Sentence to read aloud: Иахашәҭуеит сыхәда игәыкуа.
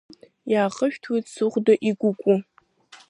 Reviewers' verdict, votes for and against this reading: rejected, 0, 2